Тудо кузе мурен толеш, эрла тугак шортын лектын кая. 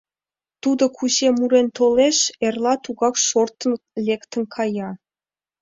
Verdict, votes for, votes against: rejected, 1, 2